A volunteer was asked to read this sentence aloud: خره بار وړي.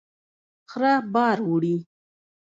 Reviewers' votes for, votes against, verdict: 1, 2, rejected